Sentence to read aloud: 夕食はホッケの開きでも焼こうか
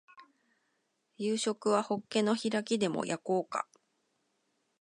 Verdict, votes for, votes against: accepted, 2, 0